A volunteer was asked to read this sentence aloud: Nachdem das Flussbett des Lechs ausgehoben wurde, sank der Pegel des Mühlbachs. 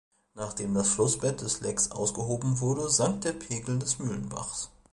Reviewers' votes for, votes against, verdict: 0, 2, rejected